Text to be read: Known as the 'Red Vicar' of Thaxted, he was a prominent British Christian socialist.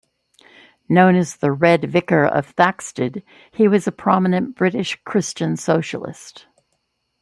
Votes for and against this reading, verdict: 2, 0, accepted